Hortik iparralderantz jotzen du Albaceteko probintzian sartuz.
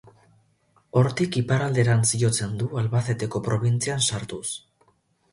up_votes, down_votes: 2, 2